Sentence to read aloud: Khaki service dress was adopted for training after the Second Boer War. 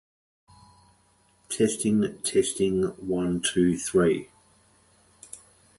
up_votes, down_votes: 0, 2